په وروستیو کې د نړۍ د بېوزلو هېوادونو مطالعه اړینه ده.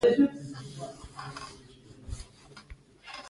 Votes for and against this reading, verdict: 2, 1, accepted